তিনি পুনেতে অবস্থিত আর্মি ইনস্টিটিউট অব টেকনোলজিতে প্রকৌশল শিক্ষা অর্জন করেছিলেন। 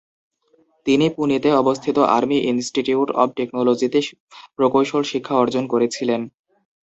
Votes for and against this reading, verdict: 2, 2, rejected